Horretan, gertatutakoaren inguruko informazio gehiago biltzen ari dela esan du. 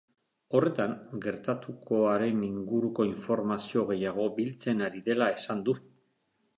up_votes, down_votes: 0, 2